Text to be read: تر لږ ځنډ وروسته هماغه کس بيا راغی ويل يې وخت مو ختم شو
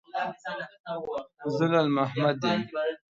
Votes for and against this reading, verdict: 0, 2, rejected